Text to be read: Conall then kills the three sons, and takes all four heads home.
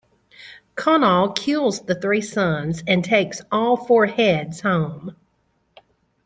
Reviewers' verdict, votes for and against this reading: rejected, 0, 2